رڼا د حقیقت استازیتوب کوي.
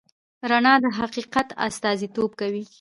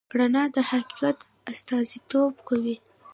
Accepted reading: second